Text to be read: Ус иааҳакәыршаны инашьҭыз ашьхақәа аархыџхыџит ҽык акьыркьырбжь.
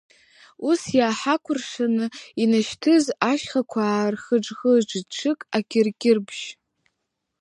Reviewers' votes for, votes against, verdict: 1, 2, rejected